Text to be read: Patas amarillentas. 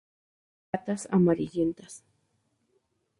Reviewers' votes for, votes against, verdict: 2, 2, rejected